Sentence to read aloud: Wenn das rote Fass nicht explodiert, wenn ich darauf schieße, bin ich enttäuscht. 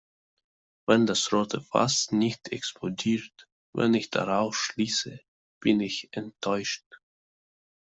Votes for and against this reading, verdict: 1, 2, rejected